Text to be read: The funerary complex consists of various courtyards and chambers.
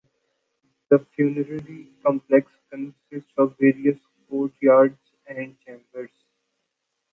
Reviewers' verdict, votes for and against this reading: rejected, 0, 2